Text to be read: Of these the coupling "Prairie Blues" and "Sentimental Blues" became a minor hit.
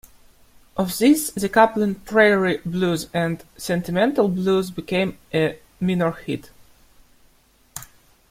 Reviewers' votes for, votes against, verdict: 1, 2, rejected